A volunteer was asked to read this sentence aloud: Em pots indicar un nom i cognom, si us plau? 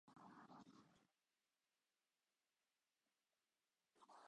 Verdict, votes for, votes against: rejected, 0, 2